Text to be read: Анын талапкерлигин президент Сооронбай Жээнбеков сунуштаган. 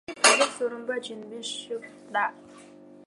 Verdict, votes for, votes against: rejected, 0, 2